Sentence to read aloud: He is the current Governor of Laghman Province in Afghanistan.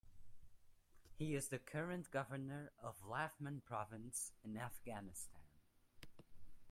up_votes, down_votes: 0, 2